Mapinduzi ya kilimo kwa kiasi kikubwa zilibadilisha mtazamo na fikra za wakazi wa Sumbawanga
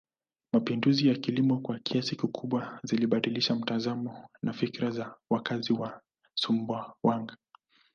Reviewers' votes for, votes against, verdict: 2, 0, accepted